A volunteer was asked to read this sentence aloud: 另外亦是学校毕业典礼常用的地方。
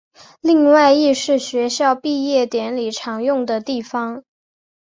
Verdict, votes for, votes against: accepted, 3, 0